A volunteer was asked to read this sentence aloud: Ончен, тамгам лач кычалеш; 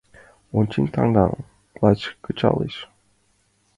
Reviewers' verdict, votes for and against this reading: rejected, 0, 2